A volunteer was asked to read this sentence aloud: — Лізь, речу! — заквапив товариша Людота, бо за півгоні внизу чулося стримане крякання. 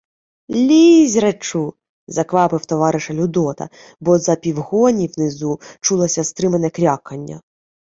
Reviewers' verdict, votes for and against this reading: accepted, 2, 0